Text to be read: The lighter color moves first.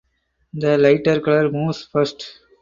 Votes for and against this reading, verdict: 0, 2, rejected